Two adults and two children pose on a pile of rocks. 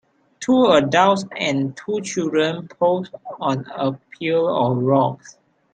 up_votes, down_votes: 0, 2